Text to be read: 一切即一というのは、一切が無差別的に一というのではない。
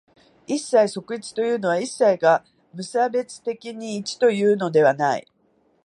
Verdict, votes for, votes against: accepted, 2, 1